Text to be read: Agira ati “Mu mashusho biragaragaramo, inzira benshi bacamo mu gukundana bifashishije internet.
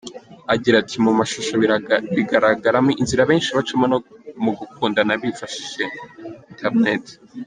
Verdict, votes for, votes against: rejected, 1, 2